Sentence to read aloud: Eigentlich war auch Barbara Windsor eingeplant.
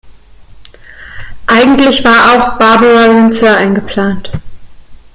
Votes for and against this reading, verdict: 0, 2, rejected